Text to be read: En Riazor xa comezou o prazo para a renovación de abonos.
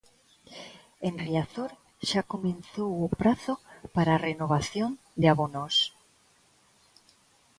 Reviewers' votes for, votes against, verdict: 1, 2, rejected